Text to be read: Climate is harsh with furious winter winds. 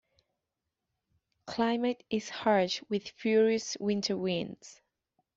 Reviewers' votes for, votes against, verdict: 1, 2, rejected